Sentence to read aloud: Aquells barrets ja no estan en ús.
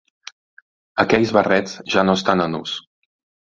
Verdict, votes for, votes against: accepted, 2, 0